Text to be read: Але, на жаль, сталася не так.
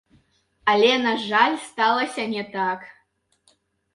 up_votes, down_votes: 2, 1